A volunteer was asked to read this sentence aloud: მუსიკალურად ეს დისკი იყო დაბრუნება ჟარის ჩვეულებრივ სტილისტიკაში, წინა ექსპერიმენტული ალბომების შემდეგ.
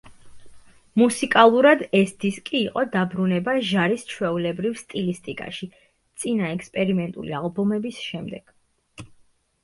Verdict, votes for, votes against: accepted, 2, 0